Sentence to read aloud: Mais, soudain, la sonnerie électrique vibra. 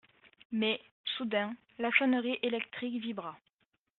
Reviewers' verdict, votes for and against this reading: accepted, 2, 0